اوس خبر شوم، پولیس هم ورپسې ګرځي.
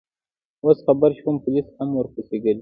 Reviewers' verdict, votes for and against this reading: accepted, 3, 0